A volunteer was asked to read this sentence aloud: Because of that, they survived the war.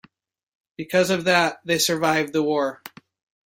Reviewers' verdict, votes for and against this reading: accepted, 2, 0